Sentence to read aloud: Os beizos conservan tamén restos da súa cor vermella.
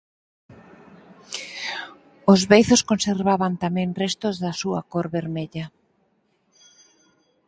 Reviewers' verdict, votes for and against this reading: rejected, 0, 4